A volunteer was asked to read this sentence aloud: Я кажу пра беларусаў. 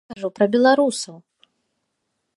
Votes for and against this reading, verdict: 1, 2, rejected